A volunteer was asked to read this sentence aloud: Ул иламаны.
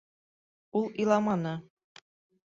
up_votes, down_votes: 2, 0